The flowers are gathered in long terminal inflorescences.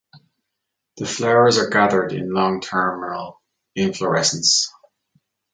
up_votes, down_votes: 0, 2